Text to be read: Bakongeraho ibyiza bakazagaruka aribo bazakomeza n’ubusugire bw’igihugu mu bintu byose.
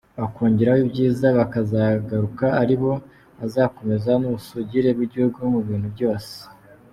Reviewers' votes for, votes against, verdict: 3, 0, accepted